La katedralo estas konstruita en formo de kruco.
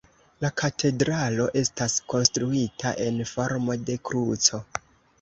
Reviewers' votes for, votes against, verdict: 2, 0, accepted